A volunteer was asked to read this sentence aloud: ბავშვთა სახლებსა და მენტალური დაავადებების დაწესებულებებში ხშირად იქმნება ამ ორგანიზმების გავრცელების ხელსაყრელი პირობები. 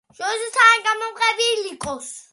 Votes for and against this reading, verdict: 3, 2, accepted